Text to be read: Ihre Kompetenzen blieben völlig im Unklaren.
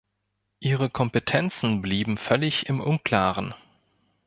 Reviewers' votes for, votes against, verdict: 2, 0, accepted